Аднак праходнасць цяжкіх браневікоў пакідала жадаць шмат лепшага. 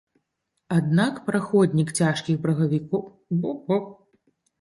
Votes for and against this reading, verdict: 0, 2, rejected